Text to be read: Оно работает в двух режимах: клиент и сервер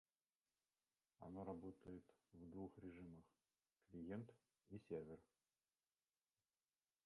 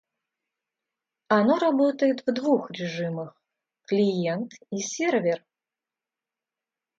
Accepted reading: second